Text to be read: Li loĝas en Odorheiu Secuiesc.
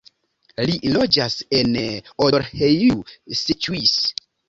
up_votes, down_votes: 1, 2